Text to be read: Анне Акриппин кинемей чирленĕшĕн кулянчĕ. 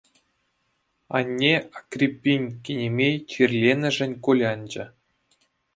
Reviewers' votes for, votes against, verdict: 2, 0, accepted